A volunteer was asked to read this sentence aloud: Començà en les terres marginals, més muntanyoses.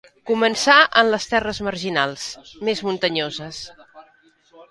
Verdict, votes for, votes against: accepted, 2, 0